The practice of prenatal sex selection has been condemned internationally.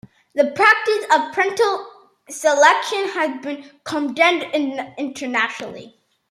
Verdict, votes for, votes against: rejected, 0, 2